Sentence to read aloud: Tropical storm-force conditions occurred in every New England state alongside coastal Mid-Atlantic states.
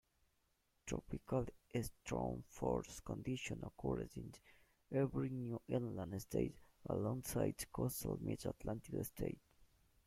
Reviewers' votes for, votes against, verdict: 0, 2, rejected